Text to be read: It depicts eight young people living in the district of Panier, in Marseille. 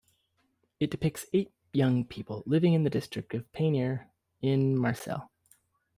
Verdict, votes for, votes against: rejected, 1, 2